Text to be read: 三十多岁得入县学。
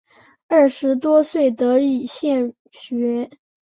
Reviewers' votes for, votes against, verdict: 0, 2, rejected